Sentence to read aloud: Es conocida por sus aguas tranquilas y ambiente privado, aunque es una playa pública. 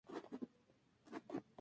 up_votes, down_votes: 0, 2